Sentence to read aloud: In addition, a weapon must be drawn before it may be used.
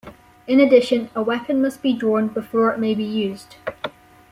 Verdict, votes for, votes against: accepted, 2, 0